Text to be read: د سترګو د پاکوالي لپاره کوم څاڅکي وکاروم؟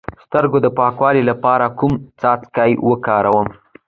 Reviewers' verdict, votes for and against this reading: accepted, 2, 0